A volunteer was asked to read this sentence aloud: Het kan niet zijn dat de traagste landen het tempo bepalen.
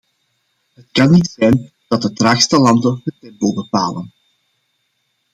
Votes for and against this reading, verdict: 1, 2, rejected